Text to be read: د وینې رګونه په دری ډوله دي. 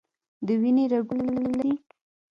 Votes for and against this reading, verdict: 0, 2, rejected